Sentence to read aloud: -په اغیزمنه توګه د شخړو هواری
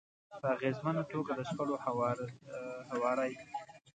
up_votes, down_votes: 1, 2